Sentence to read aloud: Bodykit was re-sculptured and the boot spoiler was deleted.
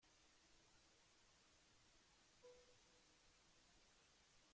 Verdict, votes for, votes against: rejected, 0, 2